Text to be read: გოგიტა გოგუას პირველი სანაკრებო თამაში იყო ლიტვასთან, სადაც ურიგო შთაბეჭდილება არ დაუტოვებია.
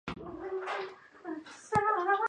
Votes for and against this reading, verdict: 0, 2, rejected